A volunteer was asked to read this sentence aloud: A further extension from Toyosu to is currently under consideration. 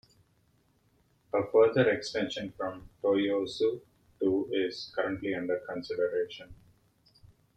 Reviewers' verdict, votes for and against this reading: accepted, 2, 0